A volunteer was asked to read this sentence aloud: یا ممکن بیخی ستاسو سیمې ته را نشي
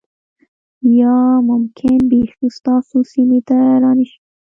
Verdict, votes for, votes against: rejected, 1, 2